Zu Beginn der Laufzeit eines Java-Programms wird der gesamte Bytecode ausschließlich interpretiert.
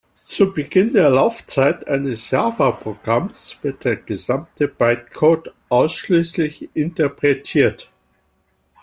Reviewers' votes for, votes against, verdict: 2, 0, accepted